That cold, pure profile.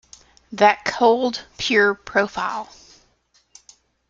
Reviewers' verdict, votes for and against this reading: accepted, 2, 0